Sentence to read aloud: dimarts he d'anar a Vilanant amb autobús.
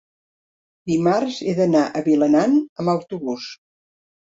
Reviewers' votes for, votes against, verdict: 2, 1, accepted